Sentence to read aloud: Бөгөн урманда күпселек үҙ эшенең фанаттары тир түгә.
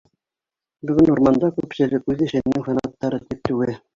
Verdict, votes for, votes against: rejected, 1, 2